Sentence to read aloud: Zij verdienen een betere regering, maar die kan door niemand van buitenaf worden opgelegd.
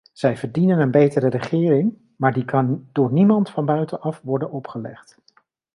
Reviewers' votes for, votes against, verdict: 2, 0, accepted